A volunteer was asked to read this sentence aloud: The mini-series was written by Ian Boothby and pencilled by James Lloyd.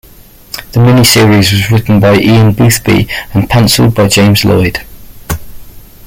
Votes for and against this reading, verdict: 1, 2, rejected